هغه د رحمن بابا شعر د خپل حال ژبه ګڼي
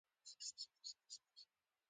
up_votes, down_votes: 2, 1